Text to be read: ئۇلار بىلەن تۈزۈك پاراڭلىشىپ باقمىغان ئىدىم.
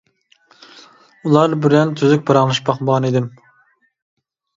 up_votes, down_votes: 0, 2